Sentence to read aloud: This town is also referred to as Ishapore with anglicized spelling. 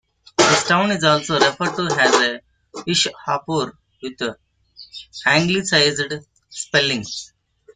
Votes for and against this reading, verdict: 0, 2, rejected